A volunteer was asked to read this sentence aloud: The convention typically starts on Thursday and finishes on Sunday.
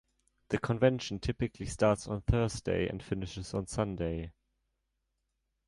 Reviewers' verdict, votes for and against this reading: accepted, 2, 0